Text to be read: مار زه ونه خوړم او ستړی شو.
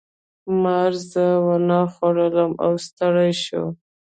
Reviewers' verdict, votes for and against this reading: rejected, 1, 2